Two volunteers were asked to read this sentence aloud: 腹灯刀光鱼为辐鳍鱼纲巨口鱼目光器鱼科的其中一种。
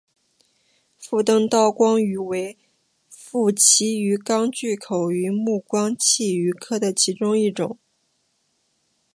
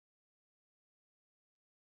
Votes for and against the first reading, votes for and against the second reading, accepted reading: 4, 0, 0, 5, first